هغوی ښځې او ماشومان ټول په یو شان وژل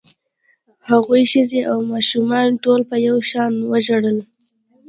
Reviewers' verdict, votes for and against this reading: rejected, 1, 2